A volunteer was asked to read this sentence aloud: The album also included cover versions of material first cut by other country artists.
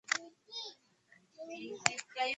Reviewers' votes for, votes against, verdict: 0, 2, rejected